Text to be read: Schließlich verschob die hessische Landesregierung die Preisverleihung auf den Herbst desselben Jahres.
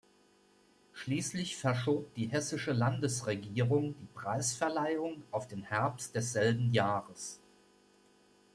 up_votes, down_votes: 2, 0